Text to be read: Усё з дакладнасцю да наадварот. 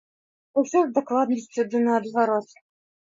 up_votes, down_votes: 2, 0